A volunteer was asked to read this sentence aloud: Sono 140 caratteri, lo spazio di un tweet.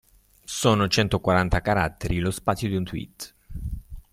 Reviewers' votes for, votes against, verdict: 0, 2, rejected